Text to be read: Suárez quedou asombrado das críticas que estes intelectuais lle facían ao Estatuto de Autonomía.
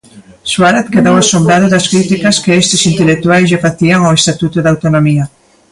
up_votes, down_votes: 2, 1